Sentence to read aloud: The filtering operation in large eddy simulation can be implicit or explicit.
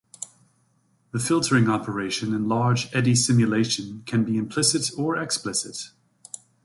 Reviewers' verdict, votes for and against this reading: rejected, 0, 2